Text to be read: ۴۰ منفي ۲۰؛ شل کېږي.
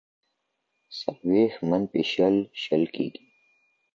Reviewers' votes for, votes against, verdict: 0, 2, rejected